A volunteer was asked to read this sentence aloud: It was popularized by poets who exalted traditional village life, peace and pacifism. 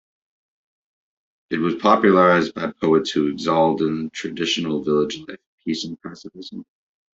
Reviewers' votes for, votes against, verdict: 0, 2, rejected